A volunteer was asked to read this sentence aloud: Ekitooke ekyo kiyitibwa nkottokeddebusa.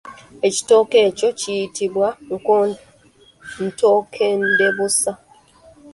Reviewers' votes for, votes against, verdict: 0, 2, rejected